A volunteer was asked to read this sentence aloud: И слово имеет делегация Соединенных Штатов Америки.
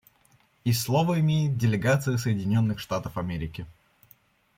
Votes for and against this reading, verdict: 1, 2, rejected